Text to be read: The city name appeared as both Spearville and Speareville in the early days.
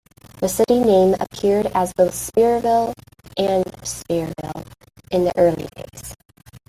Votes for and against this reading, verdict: 2, 1, accepted